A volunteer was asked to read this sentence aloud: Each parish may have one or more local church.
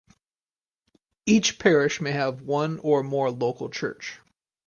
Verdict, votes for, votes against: accepted, 4, 0